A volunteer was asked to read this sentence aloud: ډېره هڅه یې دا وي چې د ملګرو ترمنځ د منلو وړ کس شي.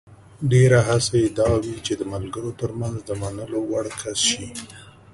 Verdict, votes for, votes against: accepted, 2, 0